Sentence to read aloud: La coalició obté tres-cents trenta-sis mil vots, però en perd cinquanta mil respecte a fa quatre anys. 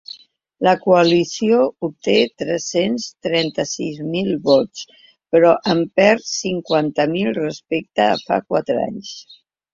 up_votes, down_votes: 2, 0